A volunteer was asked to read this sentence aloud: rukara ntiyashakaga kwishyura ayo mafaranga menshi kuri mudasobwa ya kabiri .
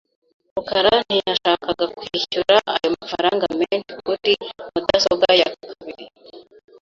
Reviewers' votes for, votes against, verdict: 0, 2, rejected